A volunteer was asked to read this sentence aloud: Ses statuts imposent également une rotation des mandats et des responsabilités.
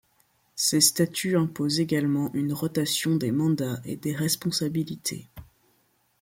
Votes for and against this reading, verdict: 2, 0, accepted